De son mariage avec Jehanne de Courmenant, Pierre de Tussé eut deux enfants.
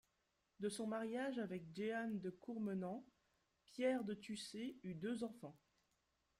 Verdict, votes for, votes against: accepted, 2, 0